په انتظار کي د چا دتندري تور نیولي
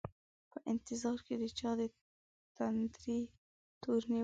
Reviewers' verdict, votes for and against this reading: rejected, 1, 2